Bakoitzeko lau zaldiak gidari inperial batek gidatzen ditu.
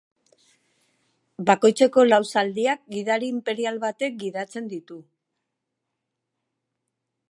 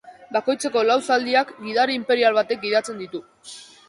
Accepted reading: first